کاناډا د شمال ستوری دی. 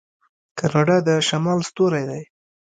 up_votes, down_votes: 1, 2